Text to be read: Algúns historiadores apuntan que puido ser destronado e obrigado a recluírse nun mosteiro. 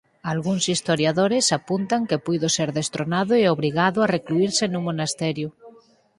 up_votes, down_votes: 2, 4